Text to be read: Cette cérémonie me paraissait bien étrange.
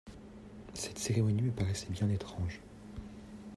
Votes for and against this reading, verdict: 0, 2, rejected